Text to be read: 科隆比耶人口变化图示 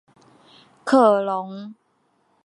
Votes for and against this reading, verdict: 0, 2, rejected